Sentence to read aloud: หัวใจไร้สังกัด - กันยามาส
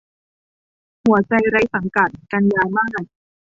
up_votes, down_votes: 2, 1